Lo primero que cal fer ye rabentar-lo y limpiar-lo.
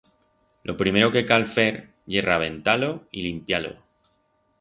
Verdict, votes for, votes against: accepted, 4, 0